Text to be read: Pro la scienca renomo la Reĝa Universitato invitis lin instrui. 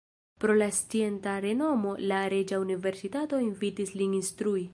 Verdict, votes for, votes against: rejected, 1, 2